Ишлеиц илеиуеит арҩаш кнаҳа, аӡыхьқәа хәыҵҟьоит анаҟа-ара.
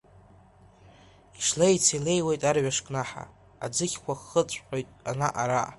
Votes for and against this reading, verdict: 0, 2, rejected